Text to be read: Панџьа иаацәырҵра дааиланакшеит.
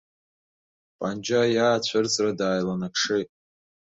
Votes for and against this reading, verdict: 3, 2, accepted